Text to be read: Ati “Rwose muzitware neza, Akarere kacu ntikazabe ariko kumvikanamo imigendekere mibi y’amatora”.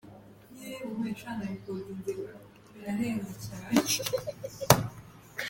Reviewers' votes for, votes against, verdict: 0, 2, rejected